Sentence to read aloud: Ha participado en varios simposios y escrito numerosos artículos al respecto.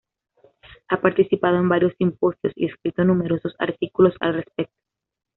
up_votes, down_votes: 2, 0